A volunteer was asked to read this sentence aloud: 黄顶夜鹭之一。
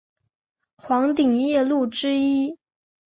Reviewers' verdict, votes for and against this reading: accepted, 4, 0